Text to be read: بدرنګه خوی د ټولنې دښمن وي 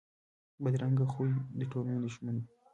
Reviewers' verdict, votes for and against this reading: rejected, 1, 2